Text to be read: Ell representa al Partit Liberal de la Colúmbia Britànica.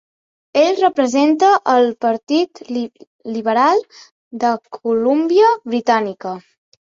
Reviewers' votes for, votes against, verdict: 0, 2, rejected